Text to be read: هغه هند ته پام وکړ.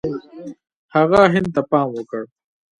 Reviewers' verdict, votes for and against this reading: rejected, 0, 2